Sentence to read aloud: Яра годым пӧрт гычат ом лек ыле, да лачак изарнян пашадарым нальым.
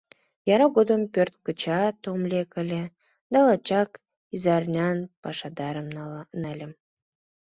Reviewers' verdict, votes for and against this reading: rejected, 1, 2